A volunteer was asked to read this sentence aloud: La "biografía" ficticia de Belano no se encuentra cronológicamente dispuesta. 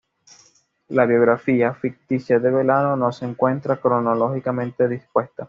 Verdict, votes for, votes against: accepted, 2, 0